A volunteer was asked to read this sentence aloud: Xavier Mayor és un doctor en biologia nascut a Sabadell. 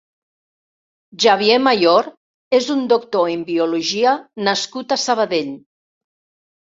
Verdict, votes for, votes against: accepted, 2, 0